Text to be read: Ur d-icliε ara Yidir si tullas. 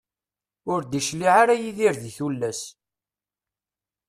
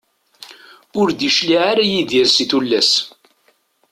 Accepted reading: second